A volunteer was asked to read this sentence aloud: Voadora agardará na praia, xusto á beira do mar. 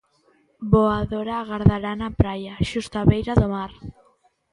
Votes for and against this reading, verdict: 2, 0, accepted